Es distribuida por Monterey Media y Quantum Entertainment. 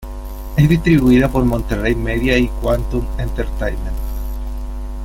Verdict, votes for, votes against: accepted, 3, 1